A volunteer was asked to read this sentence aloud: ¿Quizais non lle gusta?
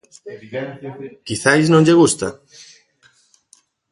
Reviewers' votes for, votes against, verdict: 0, 2, rejected